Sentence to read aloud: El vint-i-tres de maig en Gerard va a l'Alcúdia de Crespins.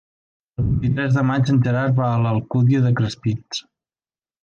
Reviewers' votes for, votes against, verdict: 1, 2, rejected